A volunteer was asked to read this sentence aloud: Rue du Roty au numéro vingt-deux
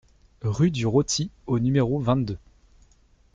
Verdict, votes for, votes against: accepted, 2, 0